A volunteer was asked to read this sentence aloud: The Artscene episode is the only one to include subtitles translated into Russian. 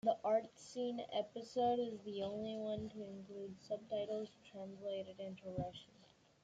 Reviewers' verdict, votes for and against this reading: rejected, 1, 2